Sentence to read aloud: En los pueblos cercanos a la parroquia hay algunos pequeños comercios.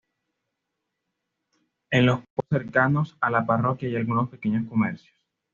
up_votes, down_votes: 2, 0